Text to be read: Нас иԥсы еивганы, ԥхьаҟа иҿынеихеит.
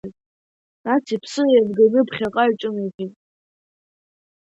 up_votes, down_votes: 1, 2